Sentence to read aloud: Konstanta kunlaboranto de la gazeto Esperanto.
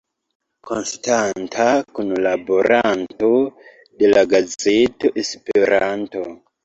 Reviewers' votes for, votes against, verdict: 2, 0, accepted